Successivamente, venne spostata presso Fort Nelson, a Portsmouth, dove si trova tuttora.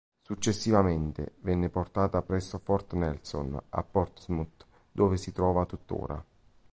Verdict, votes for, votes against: rejected, 0, 2